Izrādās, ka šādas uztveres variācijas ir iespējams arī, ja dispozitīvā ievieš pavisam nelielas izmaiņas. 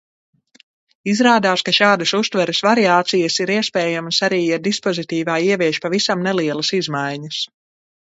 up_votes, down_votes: 2, 0